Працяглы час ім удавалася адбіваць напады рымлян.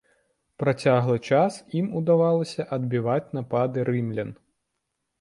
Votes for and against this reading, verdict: 2, 0, accepted